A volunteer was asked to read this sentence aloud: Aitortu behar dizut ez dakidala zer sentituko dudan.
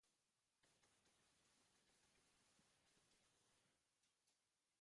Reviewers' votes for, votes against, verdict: 0, 4, rejected